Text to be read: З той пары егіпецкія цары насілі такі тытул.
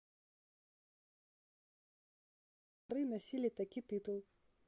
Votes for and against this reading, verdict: 0, 2, rejected